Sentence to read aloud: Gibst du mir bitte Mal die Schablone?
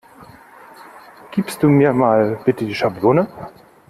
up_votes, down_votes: 0, 2